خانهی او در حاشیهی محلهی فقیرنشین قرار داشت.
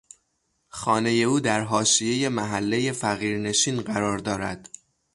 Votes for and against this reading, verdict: 0, 3, rejected